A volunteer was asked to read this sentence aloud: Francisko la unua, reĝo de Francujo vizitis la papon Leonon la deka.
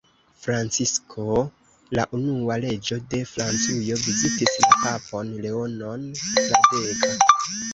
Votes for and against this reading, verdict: 0, 2, rejected